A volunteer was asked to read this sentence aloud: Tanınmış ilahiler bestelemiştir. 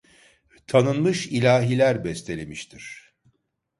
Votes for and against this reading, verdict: 2, 0, accepted